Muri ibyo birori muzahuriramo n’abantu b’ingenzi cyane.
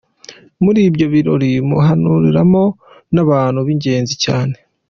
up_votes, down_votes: 1, 2